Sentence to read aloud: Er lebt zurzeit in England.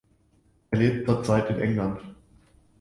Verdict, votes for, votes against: accepted, 2, 0